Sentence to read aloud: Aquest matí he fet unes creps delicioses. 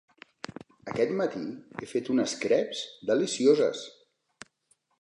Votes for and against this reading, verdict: 4, 0, accepted